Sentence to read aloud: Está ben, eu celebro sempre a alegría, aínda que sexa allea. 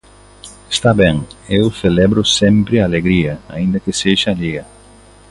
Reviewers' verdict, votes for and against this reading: accepted, 2, 0